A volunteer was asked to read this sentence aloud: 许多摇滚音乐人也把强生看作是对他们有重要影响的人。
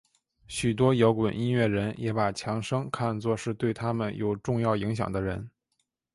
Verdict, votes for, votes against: accepted, 2, 0